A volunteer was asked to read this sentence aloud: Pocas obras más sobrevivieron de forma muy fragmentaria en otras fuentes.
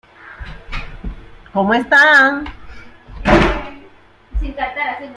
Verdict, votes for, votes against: rejected, 0, 2